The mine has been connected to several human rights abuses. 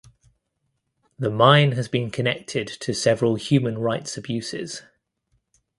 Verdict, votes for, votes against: accepted, 2, 0